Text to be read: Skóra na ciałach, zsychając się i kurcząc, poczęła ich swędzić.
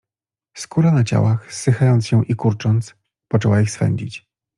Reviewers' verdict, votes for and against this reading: accepted, 2, 0